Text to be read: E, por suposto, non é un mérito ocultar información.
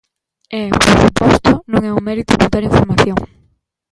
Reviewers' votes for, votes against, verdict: 2, 1, accepted